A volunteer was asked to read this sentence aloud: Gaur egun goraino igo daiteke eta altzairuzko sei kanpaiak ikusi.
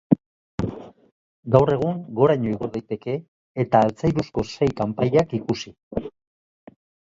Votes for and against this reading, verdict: 2, 1, accepted